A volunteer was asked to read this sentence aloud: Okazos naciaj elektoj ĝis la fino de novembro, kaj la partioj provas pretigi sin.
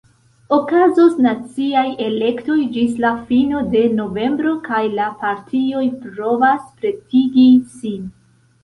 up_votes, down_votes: 2, 0